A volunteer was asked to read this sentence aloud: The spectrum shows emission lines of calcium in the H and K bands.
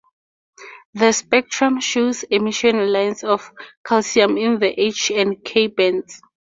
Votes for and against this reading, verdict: 4, 0, accepted